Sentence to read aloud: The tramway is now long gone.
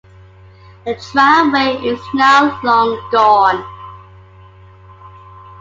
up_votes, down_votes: 2, 1